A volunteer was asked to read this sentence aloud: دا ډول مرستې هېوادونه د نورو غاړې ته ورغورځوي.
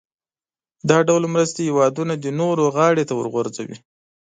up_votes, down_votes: 2, 0